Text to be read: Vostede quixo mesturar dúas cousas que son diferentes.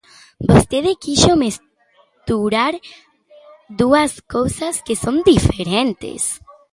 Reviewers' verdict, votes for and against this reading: accepted, 2, 1